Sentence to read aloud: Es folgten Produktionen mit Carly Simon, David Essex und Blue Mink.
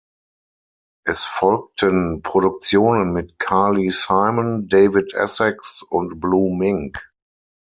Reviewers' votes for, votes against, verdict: 6, 0, accepted